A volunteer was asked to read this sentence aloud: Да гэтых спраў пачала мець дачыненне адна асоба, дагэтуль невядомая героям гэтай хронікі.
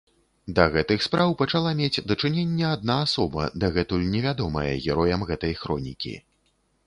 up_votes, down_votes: 2, 0